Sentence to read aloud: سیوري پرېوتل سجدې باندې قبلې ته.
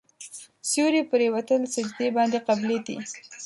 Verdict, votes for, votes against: rejected, 1, 2